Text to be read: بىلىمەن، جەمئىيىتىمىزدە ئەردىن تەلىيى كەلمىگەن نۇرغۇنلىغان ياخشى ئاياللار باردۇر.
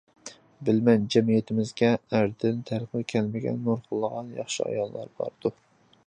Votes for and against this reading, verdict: 0, 2, rejected